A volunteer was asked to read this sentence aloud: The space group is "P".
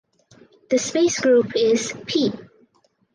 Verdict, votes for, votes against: accepted, 2, 0